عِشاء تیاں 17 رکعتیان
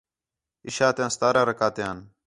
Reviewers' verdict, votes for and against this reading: rejected, 0, 2